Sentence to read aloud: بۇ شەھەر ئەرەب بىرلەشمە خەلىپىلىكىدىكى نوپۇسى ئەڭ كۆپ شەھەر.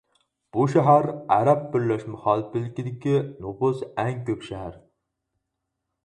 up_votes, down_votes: 0, 4